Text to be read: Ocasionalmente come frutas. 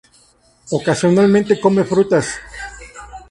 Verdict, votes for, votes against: accepted, 2, 0